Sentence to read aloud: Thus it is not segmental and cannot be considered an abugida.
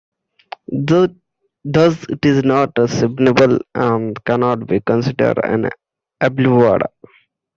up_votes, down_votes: 0, 2